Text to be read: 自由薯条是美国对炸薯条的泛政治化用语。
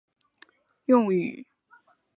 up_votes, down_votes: 0, 4